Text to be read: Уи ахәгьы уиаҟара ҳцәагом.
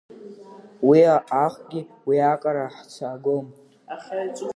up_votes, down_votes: 0, 2